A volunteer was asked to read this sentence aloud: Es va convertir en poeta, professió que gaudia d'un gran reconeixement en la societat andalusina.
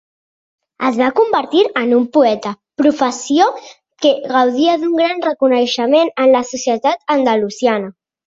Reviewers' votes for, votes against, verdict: 1, 2, rejected